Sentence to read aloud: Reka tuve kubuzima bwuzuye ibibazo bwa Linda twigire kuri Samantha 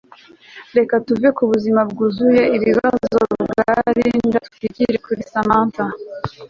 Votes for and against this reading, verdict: 1, 2, rejected